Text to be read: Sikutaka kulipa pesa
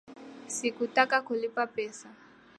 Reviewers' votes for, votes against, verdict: 2, 0, accepted